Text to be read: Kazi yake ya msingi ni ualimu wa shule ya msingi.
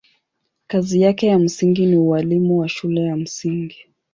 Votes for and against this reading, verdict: 16, 2, accepted